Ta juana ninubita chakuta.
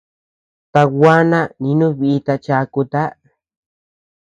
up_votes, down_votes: 0, 2